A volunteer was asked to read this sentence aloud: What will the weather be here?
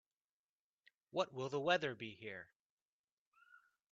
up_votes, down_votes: 3, 1